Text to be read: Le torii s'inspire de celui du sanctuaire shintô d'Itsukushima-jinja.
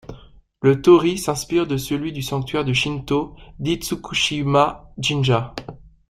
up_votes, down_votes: 0, 2